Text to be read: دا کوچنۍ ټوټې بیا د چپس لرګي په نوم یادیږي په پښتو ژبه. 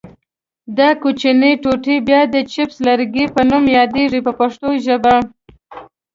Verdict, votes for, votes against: accepted, 2, 0